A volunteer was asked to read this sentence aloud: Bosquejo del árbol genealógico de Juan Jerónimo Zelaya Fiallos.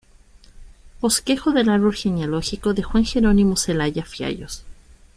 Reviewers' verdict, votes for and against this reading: accepted, 2, 0